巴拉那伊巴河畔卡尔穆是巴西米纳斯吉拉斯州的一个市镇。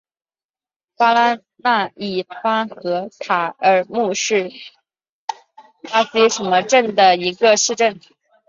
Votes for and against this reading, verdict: 2, 1, accepted